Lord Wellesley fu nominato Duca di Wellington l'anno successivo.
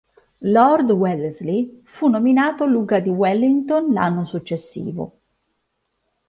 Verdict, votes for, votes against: rejected, 1, 2